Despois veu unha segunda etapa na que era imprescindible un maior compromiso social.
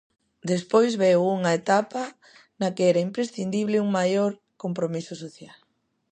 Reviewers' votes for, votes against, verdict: 0, 2, rejected